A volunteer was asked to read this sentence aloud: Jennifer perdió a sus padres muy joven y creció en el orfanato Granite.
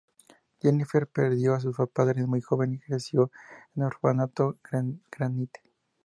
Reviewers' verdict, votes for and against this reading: rejected, 0, 2